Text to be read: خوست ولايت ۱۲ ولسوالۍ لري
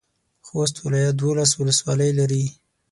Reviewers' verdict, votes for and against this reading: rejected, 0, 2